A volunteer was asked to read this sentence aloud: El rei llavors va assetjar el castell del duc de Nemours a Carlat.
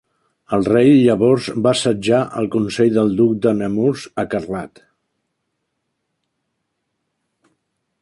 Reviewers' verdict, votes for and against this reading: rejected, 0, 2